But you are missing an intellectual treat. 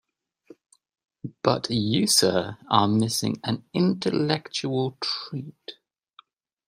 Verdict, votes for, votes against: rejected, 0, 2